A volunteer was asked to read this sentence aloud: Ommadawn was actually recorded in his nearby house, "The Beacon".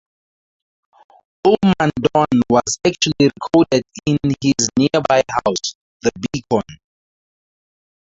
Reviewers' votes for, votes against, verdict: 0, 4, rejected